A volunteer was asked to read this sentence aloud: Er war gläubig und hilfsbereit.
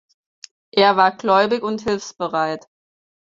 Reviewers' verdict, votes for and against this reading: accepted, 4, 0